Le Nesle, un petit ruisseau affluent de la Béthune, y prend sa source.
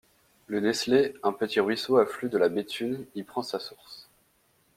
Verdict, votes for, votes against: rejected, 1, 2